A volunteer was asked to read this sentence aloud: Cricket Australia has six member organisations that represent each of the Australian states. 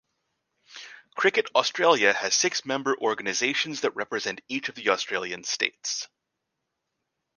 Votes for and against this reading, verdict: 2, 0, accepted